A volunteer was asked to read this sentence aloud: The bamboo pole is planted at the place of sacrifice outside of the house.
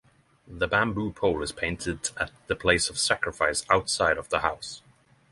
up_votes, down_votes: 3, 3